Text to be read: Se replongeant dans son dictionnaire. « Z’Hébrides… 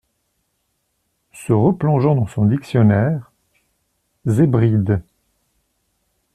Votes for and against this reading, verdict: 2, 0, accepted